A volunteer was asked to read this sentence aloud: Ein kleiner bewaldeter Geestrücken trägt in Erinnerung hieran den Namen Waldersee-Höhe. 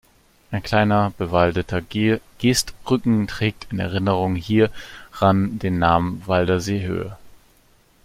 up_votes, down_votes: 0, 2